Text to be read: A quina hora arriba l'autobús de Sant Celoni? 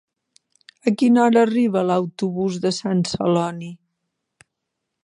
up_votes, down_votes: 4, 0